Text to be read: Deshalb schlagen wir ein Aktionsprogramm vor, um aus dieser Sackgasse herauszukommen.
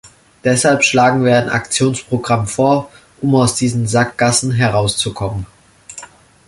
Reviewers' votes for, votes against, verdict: 0, 2, rejected